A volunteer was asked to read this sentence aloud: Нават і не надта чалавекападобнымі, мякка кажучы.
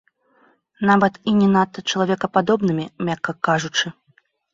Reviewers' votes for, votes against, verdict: 0, 2, rejected